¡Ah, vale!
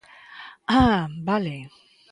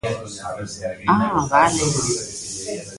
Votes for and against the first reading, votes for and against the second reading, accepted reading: 2, 0, 1, 2, first